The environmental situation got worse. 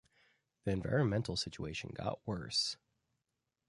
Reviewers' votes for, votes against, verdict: 2, 0, accepted